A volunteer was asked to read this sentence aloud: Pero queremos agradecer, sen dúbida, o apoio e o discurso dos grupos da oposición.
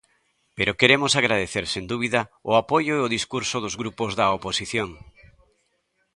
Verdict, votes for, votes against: accepted, 2, 0